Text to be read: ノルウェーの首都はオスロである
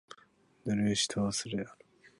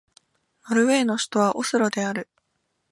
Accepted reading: second